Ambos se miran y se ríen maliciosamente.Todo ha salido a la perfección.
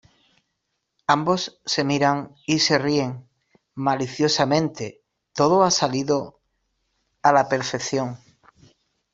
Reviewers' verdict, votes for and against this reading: accepted, 2, 1